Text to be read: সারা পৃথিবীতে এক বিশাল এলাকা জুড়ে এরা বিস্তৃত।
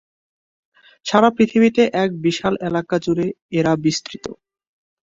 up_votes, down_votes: 2, 0